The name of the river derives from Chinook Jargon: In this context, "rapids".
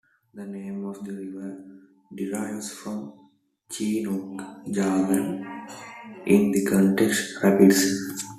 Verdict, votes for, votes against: rejected, 0, 2